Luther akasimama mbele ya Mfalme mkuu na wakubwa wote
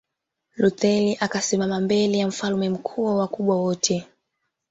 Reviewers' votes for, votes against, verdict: 0, 2, rejected